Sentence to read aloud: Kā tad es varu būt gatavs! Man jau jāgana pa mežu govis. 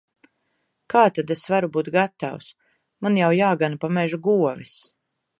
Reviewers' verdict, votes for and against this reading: accepted, 2, 0